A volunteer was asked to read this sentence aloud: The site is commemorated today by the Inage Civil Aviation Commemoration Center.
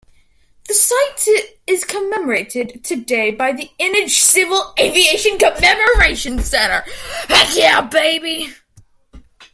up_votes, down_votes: 0, 2